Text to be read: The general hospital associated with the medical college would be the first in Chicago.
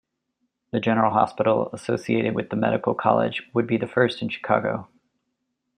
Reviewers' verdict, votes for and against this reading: accepted, 2, 0